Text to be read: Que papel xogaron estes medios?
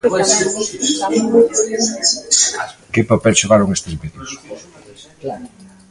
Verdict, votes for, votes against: rejected, 0, 2